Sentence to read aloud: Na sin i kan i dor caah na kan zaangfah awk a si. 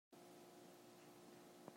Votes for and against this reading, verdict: 0, 2, rejected